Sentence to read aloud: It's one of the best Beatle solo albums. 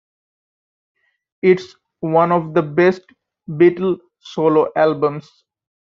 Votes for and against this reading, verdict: 3, 0, accepted